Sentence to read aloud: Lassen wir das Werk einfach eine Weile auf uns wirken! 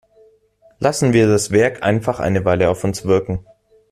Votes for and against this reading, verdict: 1, 2, rejected